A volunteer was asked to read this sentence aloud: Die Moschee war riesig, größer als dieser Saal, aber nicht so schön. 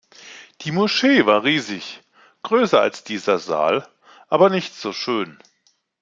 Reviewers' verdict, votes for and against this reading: accepted, 2, 0